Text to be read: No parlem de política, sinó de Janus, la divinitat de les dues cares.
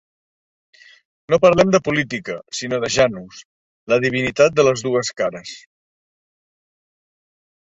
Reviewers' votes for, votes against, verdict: 3, 0, accepted